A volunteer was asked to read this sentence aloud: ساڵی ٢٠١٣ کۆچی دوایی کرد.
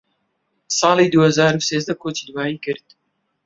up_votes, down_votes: 0, 2